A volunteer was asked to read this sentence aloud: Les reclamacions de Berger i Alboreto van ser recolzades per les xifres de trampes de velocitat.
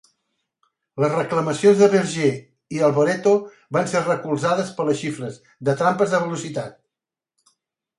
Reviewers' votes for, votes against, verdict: 2, 0, accepted